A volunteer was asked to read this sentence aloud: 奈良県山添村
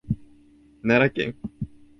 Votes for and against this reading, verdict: 1, 2, rejected